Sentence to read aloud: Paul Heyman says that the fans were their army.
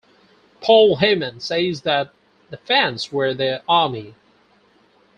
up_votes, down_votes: 4, 0